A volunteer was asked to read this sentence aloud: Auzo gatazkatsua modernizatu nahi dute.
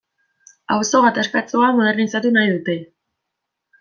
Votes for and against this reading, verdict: 2, 0, accepted